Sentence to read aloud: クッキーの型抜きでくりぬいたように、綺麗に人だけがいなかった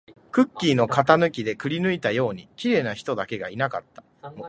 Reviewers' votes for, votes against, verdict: 0, 2, rejected